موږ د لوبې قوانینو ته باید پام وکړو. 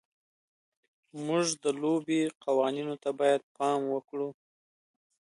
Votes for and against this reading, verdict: 2, 0, accepted